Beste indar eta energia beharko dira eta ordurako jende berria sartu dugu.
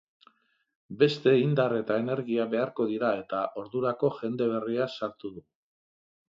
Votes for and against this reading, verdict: 2, 0, accepted